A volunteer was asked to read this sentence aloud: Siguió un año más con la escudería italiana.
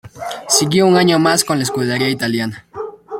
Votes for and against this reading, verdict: 2, 0, accepted